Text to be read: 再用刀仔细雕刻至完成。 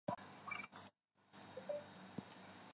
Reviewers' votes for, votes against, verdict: 1, 3, rejected